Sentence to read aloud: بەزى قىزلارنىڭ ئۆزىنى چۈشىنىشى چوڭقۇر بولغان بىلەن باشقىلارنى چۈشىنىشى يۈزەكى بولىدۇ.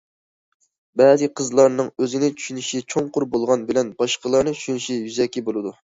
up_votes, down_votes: 2, 0